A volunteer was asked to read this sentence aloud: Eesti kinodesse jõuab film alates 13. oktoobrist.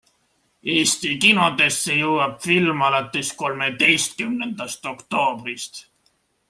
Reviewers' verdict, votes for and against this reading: rejected, 0, 2